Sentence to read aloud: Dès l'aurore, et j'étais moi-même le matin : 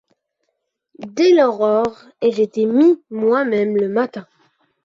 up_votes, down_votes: 1, 2